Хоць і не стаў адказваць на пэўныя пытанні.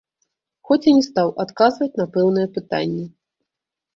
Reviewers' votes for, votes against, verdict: 0, 2, rejected